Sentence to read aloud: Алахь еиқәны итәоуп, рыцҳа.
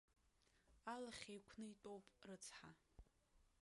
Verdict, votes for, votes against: rejected, 1, 2